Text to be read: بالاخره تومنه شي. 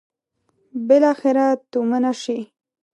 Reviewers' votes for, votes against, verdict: 2, 0, accepted